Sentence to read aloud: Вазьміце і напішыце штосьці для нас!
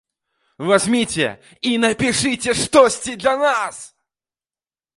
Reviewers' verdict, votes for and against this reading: accepted, 2, 0